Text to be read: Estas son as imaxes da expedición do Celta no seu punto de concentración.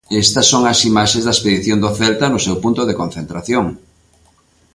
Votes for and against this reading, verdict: 2, 0, accepted